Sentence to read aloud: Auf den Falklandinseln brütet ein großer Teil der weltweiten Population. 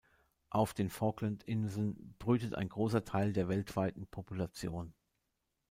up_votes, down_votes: 1, 2